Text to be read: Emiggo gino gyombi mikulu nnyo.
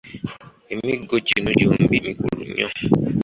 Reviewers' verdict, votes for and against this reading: accepted, 2, 0